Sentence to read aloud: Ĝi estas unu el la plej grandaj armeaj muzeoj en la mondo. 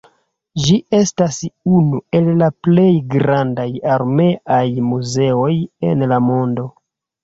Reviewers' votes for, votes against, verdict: 1, 2, rejected